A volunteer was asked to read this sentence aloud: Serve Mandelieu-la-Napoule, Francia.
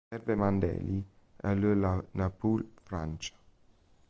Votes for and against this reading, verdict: 1, 2, rejected